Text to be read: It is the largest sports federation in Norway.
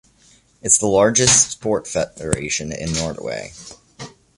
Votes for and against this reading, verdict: 1, 3, rejected